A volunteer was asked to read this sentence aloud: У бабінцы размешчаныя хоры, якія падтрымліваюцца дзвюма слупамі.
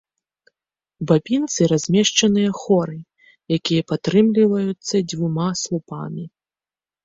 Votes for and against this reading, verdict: 2, 0, accepted